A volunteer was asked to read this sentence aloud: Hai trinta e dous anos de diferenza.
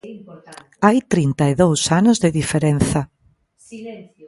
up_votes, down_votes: 0, 2